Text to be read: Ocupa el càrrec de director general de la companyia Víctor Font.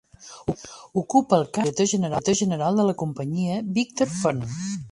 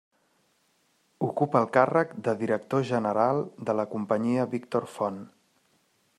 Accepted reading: second